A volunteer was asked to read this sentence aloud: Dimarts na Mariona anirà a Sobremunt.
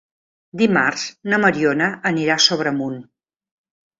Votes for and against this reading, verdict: 3, 0, accepted